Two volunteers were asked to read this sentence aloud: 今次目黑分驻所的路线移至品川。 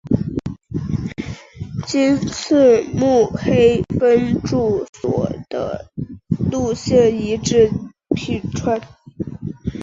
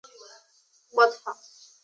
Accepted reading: first